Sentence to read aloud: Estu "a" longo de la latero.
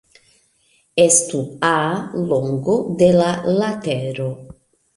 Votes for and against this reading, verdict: 2, 0, accepted